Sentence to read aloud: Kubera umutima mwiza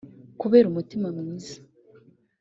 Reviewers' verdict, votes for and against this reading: accepted, 2, 0